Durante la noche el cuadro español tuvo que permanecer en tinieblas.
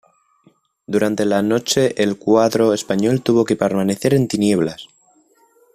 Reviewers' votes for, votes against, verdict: 2, 0, accepted